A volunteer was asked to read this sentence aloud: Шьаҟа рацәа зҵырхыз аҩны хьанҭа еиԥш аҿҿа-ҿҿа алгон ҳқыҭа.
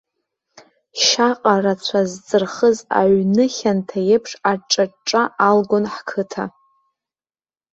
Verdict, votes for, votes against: rejected, 0, 2